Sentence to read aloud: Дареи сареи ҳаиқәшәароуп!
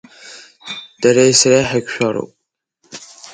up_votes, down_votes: 2, 1